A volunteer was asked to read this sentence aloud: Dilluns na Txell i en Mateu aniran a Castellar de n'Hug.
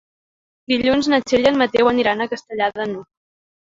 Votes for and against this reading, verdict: 0, 2, rejected